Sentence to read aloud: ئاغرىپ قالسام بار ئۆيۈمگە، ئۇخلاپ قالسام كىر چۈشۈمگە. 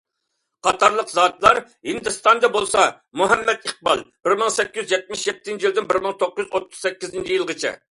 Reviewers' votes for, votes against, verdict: 0, 2, rejected